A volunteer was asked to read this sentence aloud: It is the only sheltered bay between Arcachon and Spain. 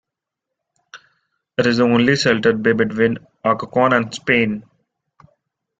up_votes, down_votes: 1, 2